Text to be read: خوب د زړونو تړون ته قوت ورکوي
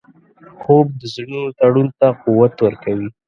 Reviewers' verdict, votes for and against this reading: accepted, 2, 0